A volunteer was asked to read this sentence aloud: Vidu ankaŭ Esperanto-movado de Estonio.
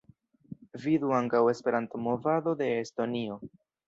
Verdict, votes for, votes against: accepted, 3, 2